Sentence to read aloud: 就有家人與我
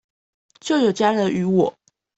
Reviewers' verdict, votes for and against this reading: accepted, 2, 0